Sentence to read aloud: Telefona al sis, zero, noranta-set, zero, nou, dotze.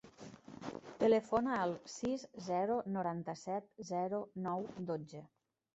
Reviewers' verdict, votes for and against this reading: accepted, 3, 0